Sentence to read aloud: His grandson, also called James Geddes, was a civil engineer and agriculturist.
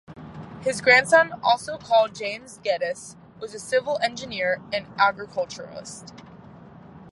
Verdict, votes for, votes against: accepted, 2, 0